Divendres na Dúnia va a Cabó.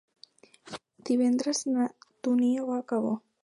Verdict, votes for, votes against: accepted, 2, 0